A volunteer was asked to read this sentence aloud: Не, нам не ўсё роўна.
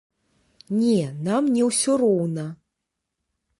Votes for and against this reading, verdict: 2, 0, accepted